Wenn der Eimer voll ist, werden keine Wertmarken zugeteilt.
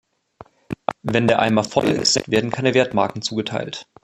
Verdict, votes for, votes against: rejected, 0, 2